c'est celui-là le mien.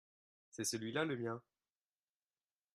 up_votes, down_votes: 2, 0